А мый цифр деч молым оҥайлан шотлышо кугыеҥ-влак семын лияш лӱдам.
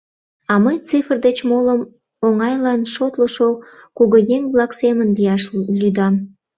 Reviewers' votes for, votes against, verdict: 1, 2, rejected